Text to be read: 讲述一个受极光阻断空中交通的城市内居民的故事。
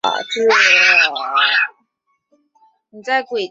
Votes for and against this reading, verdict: 0, 2, rejected